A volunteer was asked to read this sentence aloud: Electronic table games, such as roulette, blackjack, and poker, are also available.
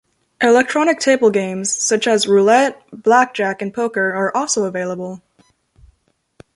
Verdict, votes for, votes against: accepted, 2, 0